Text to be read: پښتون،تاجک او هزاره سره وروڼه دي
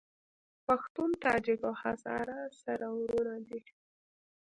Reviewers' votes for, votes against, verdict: 1, 2, rejected